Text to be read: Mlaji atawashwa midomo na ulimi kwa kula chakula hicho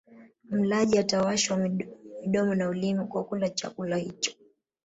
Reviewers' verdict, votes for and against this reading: accepted, 2, 0